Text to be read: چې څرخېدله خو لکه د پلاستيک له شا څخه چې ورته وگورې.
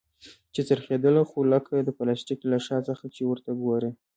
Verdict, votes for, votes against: accepted, 2, 0